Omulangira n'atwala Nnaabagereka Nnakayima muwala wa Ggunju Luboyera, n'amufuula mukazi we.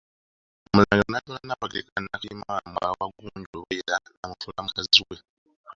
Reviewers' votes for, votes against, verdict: 0, 2, rejected